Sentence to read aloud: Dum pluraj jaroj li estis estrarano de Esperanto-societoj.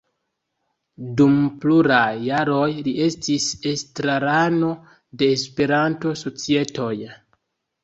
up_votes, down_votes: 2, 0